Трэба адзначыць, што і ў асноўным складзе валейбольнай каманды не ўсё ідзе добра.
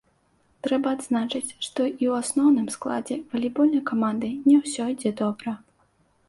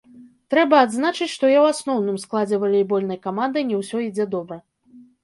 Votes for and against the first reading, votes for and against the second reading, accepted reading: 2, 0, 1, 2, first